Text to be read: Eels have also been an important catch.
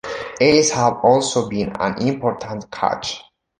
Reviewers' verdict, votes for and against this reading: accepted, 2, 0